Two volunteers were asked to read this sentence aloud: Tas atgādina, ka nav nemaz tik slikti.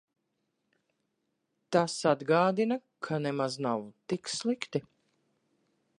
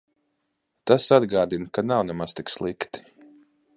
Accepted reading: second